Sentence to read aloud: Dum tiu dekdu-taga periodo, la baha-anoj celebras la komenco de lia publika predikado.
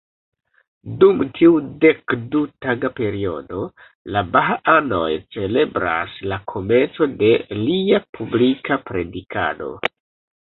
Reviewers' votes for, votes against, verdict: 2, 0, accepted